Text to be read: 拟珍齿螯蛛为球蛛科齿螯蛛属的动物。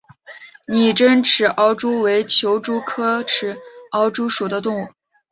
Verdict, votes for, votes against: accepted, 5, 0